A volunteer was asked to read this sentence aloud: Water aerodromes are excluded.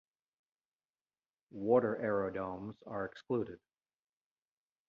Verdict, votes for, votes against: rejected, 0, 2